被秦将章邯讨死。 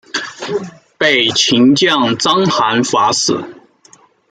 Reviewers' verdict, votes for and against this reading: rejected, 0, 2